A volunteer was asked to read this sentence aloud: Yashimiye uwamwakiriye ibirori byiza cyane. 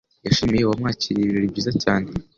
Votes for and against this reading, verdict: 3, 0, accepted